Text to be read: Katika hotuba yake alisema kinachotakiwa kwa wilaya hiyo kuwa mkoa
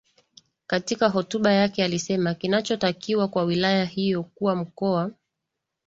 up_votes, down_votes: 2, 0